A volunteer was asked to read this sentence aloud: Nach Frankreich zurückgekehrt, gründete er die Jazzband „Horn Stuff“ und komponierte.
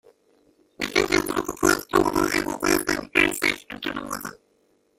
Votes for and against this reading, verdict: 0, 2, rejected